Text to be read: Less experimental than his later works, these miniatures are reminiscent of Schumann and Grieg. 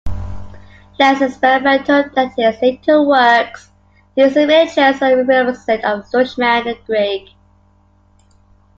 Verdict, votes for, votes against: rejected, 0, 2